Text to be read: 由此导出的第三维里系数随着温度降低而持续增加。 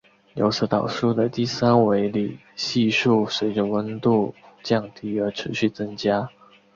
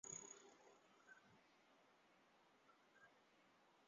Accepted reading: first